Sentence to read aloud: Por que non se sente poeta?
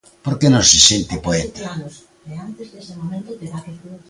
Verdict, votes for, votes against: rejected, 0, 2